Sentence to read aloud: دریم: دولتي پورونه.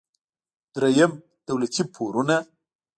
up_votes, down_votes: 2, 0